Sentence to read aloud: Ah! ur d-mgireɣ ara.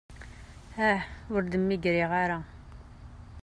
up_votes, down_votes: 1, 3